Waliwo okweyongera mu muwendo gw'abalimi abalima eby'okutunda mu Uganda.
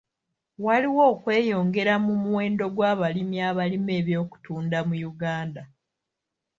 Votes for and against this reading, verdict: 2, 0, accepted